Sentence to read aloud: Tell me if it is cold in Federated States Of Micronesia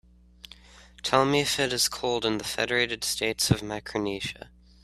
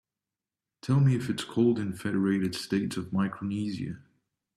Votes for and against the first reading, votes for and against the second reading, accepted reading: 2, 0, 1, 2, first